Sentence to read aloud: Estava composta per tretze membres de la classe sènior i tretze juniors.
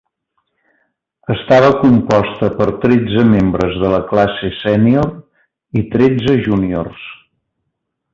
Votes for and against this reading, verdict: 2, 0, accepted